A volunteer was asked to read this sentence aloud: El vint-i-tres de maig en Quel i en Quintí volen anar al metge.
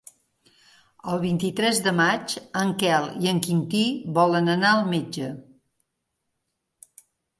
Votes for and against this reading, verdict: 3, 0, accepted